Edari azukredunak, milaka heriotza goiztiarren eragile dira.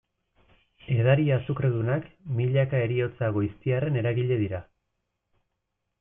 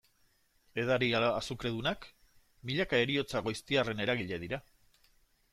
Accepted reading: first